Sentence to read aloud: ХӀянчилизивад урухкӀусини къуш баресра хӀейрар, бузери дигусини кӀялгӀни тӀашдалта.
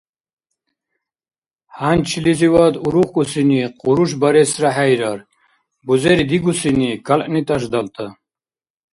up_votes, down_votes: 1, 2